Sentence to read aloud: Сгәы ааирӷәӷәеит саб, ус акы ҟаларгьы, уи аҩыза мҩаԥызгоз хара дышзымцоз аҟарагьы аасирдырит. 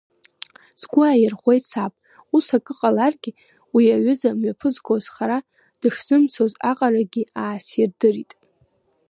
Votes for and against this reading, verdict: 0, 2, rejected